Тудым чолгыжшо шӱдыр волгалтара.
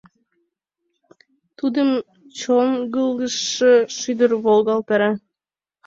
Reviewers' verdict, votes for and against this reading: rejected, 2, 3